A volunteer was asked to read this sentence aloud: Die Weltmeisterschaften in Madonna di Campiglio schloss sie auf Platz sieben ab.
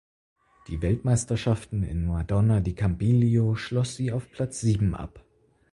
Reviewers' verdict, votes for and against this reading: accepted, 4, 2